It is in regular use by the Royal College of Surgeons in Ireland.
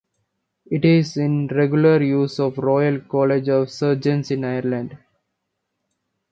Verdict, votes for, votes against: rejected, 0, 2